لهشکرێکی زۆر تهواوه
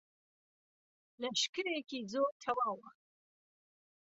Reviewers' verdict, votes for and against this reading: rejected, 1, 2